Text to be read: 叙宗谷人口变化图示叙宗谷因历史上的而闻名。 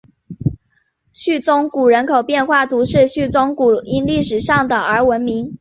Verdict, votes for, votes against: accepted, 6, 0